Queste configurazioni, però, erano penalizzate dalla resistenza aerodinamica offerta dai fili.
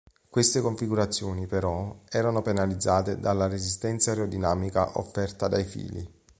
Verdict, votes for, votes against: accepted, 2, 0